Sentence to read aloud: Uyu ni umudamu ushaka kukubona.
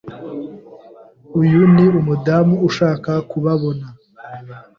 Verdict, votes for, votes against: rejected, 1, 2